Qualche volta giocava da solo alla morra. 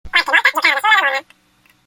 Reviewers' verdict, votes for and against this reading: rejected, 0, 2